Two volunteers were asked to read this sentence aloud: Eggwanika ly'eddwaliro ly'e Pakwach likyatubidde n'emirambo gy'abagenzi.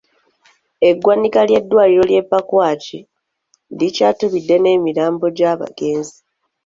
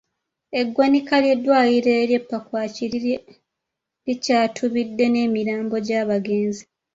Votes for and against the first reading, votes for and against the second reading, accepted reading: 2, 0, 1, 2, first